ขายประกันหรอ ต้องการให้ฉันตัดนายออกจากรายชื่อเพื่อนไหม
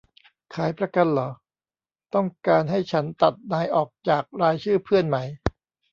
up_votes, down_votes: 2, 0